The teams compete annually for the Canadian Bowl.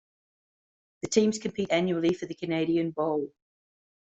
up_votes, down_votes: 2, 0